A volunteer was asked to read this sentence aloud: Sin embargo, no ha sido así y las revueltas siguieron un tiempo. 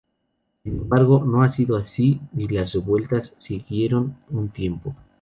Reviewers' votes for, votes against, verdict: 0, 2, rejected